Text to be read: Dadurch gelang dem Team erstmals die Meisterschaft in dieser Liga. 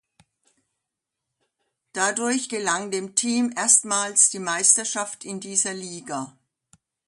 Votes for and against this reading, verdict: 2, 0, accepted